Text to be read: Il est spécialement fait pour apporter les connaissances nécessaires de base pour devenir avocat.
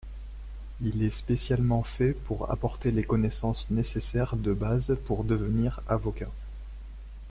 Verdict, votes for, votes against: accepted, 2, 0